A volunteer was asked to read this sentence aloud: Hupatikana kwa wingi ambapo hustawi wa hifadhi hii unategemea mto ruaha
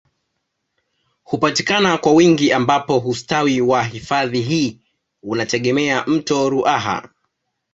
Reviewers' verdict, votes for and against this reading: accepted, 2, 0